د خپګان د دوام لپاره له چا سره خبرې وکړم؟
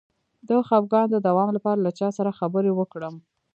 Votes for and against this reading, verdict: 0, 2, rejected